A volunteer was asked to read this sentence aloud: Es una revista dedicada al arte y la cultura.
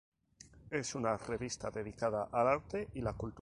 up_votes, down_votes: 2, 2